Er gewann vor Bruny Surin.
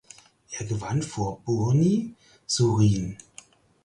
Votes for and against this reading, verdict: 2, 4, rejected